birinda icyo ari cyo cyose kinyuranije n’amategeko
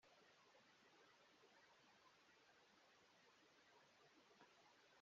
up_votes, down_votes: 0, 2